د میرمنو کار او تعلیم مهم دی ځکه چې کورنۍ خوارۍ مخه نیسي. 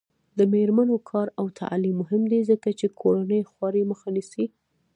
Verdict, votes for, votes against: accepted, 2, 1